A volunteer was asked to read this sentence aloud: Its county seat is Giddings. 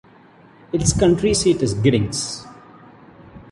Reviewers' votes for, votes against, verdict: 0, 2, rejected